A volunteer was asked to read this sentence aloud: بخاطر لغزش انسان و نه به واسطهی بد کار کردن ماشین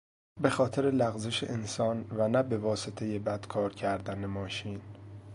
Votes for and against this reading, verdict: 2, 0, accepted